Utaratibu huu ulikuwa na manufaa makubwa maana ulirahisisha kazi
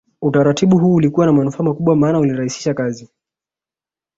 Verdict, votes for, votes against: accepted, 2, 0